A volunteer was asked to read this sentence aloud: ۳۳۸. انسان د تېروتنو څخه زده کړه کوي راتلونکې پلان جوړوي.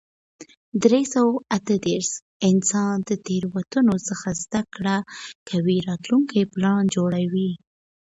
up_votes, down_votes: 0, 2